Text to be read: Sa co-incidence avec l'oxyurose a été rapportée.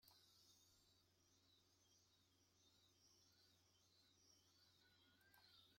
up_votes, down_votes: 1, 2